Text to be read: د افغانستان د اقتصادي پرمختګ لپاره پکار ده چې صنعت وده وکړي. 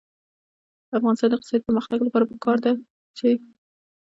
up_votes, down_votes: 0, 2